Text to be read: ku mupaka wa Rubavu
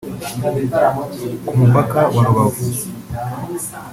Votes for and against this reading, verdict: 2, 1, accepted